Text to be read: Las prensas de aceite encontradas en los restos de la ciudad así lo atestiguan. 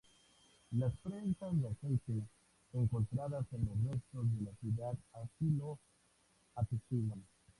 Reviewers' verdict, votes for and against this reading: accepted, 2, 0